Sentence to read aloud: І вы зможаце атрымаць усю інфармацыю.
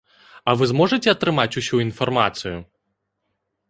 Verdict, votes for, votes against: rejected, 1, 3